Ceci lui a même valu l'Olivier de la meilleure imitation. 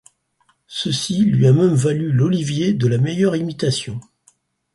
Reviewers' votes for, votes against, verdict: 4, 0, accepted